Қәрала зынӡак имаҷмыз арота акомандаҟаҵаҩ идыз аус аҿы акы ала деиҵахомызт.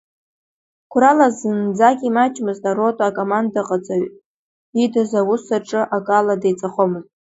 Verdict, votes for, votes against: rejected, 1, 2